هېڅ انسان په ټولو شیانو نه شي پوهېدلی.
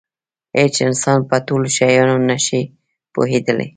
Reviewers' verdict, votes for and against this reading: rejected, 1, 2